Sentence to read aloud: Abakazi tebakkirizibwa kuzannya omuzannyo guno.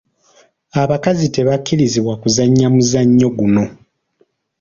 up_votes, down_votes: 2, 0